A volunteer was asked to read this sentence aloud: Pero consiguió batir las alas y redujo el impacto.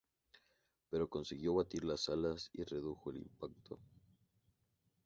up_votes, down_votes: 2, 0